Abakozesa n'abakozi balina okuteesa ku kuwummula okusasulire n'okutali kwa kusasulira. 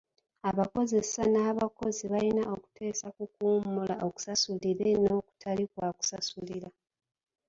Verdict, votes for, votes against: accepted, 2, 1